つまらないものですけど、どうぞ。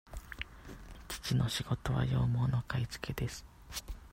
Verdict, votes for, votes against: rejected, 0, 2